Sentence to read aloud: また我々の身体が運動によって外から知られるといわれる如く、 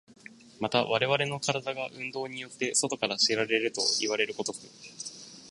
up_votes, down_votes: 2, 0